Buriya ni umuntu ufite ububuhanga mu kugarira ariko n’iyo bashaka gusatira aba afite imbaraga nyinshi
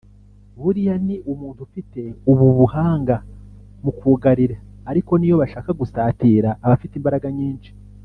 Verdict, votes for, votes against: rejected, 0, 2